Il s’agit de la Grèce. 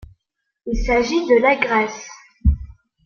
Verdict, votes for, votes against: accepted, 2, 0